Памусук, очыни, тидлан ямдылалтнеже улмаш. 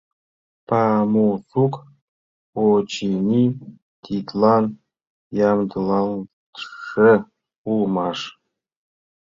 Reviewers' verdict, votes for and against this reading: rejected, 0, 2